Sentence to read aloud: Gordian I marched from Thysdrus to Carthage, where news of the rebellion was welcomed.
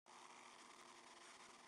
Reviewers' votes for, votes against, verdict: 0, 2, rejected